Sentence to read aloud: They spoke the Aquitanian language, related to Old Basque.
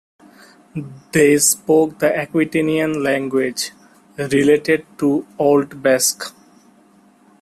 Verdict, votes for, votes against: accepted, 2, 0